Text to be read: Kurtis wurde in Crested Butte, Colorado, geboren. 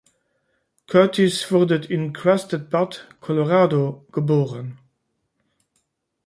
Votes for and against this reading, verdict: 0, 2, rejected